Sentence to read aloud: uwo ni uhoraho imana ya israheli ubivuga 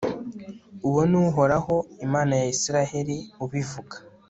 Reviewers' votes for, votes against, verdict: 2, 1, accepted